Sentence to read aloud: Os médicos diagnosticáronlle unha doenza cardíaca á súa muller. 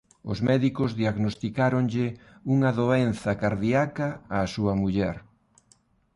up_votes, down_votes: 2, 0